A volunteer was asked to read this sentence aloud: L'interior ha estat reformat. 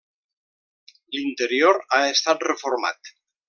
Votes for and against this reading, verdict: 3, 0, accepted